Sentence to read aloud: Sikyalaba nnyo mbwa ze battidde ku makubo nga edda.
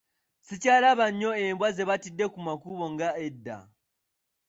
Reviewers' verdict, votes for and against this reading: rejected, 1, 2